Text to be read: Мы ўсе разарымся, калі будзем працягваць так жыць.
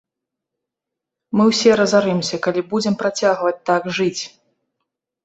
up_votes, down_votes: 2, 0